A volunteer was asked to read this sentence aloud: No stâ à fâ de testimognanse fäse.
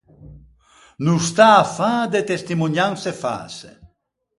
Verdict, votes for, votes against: rejected, 0, 4